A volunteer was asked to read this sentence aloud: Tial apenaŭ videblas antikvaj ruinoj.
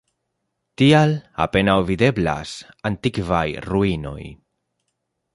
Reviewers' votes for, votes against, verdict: 2, 1, accepted